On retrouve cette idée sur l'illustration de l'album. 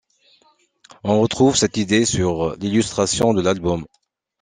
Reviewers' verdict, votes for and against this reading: accepted, 2, 0